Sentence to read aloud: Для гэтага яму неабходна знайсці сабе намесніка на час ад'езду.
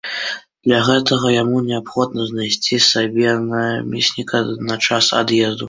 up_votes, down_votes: 2, 1